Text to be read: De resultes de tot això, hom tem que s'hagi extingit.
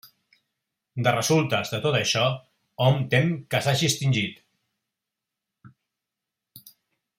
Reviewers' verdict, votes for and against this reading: accepted, 2, 0